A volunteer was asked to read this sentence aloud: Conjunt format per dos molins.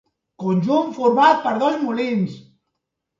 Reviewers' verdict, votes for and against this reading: rejected, 0, 2